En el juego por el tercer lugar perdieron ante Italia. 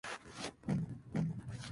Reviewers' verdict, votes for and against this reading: rejected, 0, 2